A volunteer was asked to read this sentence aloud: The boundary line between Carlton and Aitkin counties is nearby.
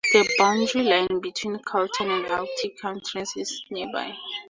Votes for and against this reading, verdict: 2, 0, accepted